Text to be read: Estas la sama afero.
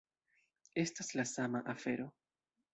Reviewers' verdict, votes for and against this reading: rejected, 1, 2